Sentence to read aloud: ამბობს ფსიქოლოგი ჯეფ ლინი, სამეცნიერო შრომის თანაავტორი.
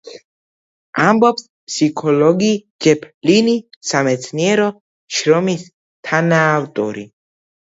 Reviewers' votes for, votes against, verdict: 2, 0, accepted